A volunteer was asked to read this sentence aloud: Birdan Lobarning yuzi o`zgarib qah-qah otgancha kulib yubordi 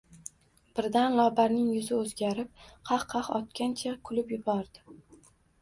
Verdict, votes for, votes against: rejected, 1, 2